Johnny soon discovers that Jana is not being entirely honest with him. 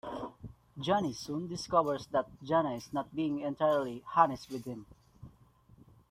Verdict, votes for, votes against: accepted, 2, 1